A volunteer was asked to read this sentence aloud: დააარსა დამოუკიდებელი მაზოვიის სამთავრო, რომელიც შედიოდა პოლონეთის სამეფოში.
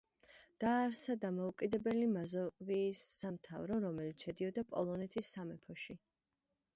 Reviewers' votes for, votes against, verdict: 0, 2, rejected